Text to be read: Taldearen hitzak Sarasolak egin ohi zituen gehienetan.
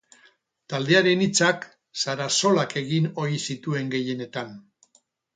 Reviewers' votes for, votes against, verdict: 0, 2, rejected